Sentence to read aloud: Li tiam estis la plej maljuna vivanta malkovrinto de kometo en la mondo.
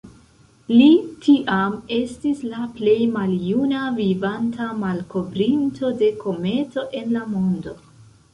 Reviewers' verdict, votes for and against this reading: accepted, 2, 1